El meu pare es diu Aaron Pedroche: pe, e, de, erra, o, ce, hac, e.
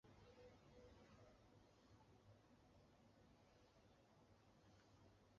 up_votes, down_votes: 0, 2